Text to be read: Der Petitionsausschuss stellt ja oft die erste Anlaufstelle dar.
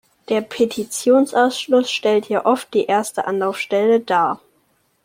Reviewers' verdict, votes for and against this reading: rejected, 1, 2